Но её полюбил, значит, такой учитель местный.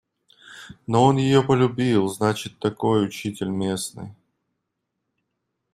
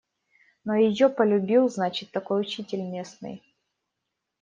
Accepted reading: second